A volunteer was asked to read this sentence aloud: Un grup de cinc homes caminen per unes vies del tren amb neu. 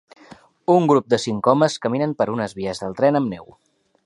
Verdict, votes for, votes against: accepted, 3, 0